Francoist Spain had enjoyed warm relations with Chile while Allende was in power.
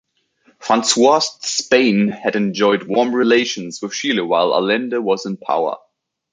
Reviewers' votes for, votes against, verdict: 2, 3, rejected